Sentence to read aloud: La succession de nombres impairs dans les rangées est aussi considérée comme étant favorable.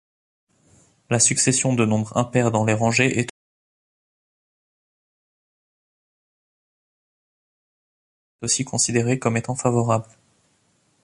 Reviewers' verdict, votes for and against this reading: rejected, 0, 2